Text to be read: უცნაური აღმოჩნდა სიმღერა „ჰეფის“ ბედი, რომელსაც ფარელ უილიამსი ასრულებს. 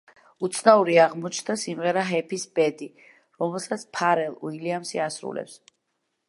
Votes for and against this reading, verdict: 3, 0, accepted